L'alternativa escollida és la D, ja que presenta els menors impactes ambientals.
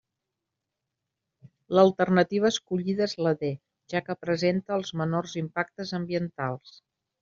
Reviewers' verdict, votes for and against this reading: accepted, 2, 0